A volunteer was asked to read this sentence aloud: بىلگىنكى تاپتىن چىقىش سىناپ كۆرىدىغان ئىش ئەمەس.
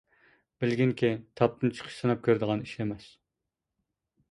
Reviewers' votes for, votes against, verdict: 2, 0, accepted